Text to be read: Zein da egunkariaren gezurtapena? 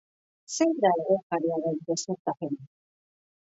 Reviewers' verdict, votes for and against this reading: accepted, 2, 0